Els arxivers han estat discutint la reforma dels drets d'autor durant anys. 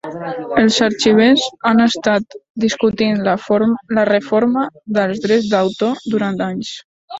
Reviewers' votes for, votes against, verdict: 0, 3, rejected